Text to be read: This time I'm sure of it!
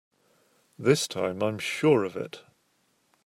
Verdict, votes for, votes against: accepted, 3, 0